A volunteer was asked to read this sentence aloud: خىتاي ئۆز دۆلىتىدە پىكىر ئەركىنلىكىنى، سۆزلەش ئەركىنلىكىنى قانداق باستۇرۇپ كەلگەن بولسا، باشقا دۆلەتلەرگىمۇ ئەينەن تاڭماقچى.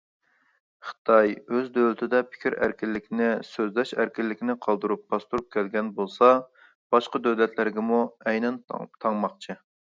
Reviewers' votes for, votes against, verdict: 0, 2, rejected